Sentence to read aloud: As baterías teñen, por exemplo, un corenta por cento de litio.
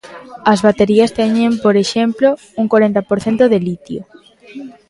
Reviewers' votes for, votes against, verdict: 2, 1, accepted